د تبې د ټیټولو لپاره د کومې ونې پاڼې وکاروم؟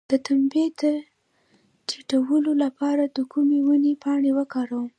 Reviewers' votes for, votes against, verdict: 1, 2, rejected